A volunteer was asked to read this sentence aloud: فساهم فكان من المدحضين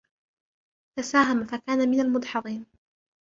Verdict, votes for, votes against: accepted, 2, 1